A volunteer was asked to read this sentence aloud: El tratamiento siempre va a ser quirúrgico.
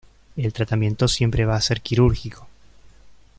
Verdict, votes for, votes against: accepted, 2, 0